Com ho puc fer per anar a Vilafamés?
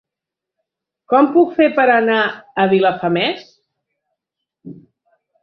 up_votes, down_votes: 0, 2